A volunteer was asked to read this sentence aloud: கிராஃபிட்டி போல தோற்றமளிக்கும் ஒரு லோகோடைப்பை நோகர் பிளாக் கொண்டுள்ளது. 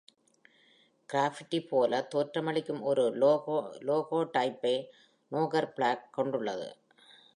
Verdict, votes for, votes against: rejected, 0, 2